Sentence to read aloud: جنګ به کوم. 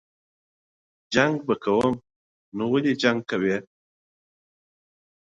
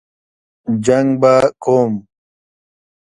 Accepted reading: second